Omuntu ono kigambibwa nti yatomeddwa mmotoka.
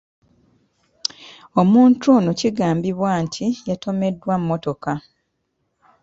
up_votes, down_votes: 2, 0